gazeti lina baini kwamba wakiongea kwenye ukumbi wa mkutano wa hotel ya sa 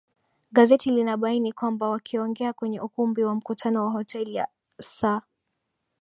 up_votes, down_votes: 2, 1